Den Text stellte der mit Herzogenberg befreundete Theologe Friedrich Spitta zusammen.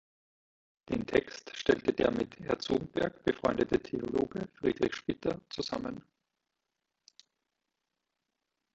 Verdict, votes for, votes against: rejected, 1, 2